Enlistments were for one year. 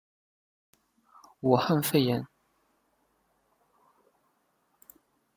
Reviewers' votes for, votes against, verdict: 1, 2, rejected